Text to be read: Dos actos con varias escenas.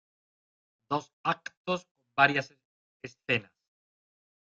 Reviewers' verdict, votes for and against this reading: rejected, 0, 2